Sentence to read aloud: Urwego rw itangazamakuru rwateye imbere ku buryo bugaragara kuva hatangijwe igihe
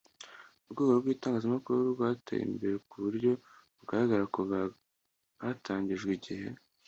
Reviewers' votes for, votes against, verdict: 2, 0, accepted